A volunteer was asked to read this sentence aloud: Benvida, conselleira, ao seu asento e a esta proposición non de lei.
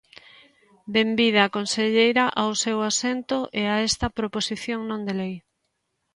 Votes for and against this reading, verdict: 2, 0, accepted